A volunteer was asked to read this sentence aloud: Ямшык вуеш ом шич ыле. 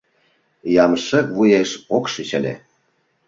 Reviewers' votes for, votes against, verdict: 0, 2, rejected